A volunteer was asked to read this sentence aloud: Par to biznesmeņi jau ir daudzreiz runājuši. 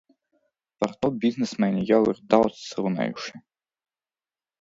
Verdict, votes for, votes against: rejected, 0, 2